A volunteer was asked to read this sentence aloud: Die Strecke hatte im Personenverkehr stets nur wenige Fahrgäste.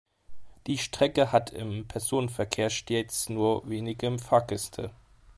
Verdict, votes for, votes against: accepted, 2, 0